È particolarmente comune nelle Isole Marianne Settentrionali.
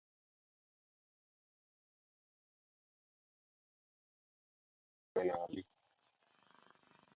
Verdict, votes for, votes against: rejected, 0, 3